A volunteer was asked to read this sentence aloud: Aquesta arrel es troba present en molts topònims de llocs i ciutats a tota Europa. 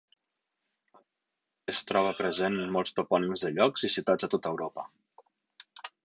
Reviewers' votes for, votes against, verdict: 0, 6, rejected